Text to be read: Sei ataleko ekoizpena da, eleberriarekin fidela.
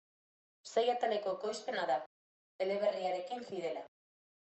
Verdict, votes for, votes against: rejected, 1, 2